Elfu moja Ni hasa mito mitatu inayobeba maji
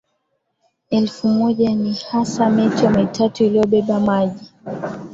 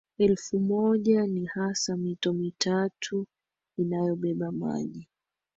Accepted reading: first